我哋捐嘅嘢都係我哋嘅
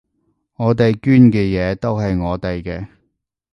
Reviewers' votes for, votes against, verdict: 2, 0, accepted